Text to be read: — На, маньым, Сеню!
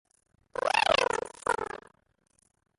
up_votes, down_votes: 0, 2